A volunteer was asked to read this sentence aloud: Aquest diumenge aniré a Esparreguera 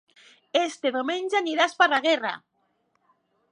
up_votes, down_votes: 1, 2